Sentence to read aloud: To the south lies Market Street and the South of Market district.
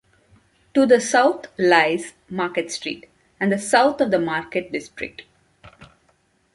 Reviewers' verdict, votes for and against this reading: accepted, 2, 0